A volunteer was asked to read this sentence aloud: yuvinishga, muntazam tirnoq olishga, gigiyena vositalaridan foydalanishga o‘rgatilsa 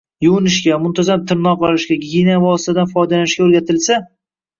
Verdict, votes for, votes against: rejected, 0, 2